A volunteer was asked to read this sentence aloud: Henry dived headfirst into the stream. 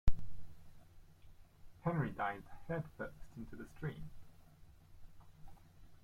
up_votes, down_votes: 1, 2